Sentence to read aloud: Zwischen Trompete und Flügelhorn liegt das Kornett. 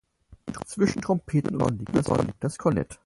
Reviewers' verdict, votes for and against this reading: rejected, 0, 4